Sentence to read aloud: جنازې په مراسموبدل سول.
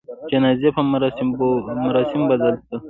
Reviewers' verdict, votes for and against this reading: accepted, 2, 0